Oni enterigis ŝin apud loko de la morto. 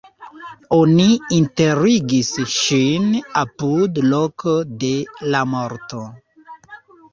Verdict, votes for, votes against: rejected, 0, 2